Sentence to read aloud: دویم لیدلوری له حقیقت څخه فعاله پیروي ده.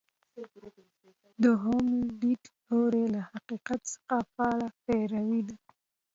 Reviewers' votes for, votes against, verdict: 1, 2, rejected